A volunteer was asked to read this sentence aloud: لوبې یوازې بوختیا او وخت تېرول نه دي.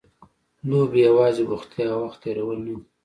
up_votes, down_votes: 2, 0